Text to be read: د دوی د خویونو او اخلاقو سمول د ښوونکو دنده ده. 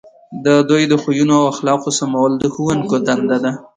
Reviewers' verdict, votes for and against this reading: accepted, 2, 0